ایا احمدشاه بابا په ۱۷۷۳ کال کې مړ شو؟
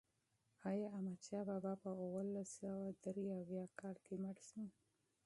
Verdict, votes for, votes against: rejected, 0, 2